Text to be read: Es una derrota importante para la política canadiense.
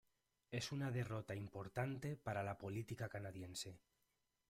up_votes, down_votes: 1, 2